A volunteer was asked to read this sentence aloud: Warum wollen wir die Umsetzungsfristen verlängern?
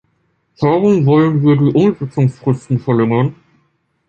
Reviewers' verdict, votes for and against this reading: rejected, 1, 2